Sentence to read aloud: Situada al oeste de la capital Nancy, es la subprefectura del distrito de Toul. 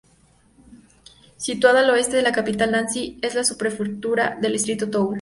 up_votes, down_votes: 2, 0